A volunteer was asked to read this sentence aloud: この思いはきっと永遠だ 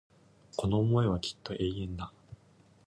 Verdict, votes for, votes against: accepted, 2, 0